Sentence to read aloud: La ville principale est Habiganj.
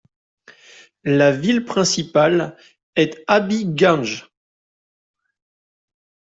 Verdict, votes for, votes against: accepted, 2, 0